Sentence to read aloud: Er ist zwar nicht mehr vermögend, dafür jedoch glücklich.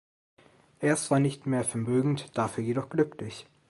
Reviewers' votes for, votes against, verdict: 2, 0, accepted